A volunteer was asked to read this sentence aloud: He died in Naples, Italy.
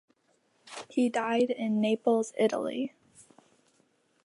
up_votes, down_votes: 4, 0